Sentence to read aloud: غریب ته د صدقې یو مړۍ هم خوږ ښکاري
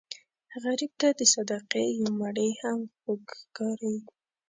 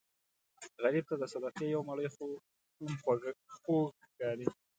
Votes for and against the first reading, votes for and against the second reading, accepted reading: 0, 2, 2, 0, second